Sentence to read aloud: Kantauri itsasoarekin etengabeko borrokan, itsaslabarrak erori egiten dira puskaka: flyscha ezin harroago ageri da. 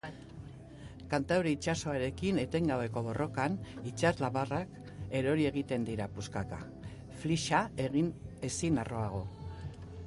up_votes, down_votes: 0, 3